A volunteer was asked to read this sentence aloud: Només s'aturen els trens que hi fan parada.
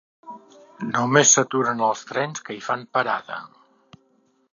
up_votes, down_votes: 3, 0